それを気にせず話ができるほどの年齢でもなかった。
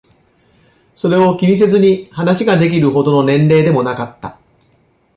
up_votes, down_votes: 0, 2